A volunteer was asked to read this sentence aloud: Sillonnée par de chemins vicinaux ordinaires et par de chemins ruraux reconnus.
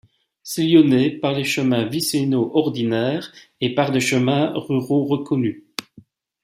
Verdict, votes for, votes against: rejected, 1, 2